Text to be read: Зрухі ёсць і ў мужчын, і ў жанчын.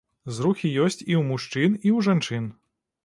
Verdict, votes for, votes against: accepted, 2, 0